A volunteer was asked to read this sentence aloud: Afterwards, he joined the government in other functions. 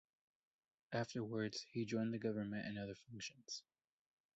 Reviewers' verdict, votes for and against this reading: accepted, 3, 1